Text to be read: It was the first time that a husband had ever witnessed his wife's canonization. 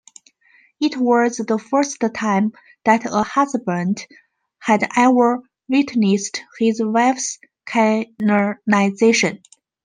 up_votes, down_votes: 1, 2